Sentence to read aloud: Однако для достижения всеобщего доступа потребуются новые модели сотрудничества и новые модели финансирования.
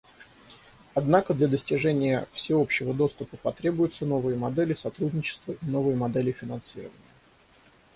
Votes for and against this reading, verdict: 0, 3, rejected